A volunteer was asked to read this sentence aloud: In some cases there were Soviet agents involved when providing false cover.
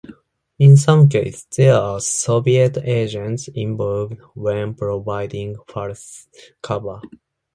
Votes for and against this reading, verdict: 2, 0, accepted